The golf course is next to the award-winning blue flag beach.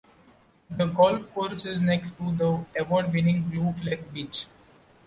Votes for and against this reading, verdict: 2, 0, accepted